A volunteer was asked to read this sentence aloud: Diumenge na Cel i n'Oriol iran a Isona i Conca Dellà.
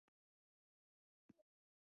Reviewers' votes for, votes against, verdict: 0, 2, rejected